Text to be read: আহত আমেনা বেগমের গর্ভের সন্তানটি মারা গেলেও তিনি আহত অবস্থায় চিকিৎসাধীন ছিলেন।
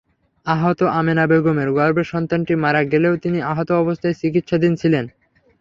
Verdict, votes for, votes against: rejected, 0, 3